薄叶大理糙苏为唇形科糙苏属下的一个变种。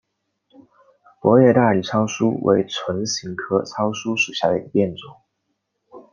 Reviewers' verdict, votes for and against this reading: accepted, 2, 1